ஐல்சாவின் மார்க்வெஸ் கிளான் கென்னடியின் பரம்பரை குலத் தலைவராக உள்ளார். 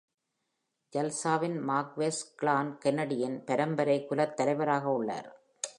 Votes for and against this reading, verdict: 1, 2, rejected